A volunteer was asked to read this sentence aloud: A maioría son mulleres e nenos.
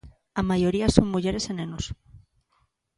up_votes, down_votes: 2, 0